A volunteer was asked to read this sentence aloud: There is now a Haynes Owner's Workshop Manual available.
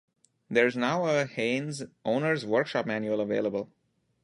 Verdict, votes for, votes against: accepted, 2, 0